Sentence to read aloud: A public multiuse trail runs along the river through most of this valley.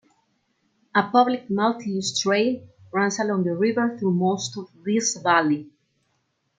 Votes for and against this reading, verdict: 2, 0, accepted